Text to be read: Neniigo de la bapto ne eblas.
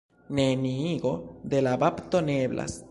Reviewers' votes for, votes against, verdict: 2, 1, accepted